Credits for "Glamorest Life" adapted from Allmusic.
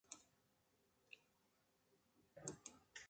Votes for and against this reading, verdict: 0, 2, rejected